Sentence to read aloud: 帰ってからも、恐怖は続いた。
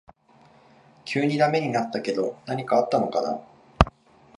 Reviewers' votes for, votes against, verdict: 1, 3, rejected